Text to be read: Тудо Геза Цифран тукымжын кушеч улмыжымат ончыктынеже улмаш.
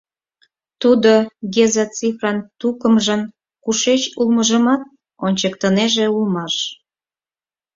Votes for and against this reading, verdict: 4, 0, accepted